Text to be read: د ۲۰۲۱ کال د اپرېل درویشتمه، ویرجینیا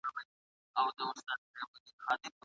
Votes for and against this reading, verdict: 0, 2, rejected